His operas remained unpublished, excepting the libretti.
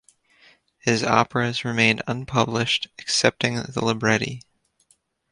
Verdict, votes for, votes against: accepted, 2, 0